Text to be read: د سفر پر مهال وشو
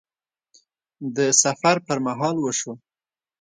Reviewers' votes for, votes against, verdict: 2, 0, accepted